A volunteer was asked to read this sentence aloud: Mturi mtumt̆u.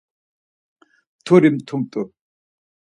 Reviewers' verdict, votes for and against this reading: accepted, 4, 0